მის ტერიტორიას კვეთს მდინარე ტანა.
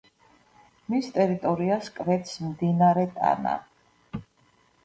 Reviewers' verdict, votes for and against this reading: rejected, 1, 2